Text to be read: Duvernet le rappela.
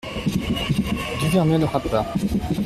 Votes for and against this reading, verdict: 0, 2, rejected